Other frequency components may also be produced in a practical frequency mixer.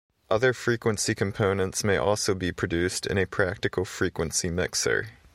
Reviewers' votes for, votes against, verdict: 2, 0, accepted